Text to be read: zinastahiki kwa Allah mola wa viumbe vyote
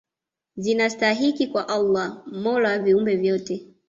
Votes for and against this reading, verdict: 2, 0, accepted